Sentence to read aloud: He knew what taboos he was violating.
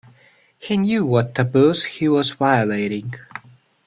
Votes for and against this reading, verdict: 2, 1, accepted